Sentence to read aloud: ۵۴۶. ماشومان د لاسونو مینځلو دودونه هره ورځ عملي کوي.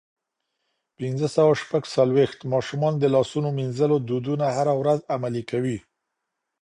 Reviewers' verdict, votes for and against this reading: rejected, 0, 2